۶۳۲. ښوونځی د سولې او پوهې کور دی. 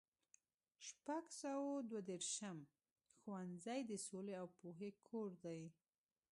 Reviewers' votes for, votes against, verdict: 0, 2, rejected